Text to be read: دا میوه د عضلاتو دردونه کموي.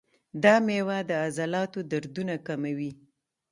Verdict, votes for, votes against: rejected, 1, 2